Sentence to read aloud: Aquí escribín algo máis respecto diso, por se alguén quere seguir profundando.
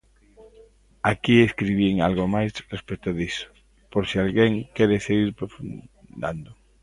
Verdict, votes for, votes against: rejected, 0, 2